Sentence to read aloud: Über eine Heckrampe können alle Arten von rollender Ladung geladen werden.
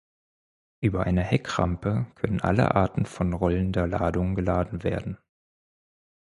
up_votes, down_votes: 4, 0